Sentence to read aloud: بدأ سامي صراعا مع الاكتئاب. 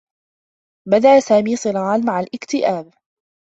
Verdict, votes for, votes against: accepted, 2, 0